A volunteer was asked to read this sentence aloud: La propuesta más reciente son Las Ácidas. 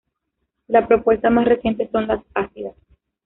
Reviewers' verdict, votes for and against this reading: accepted, 2, 1